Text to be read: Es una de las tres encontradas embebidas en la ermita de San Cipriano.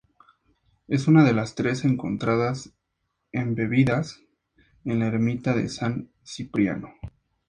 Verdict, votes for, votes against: accepted, 2, 0